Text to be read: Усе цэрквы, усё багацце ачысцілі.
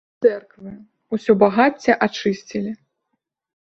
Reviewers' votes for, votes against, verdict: 0, 2, rejected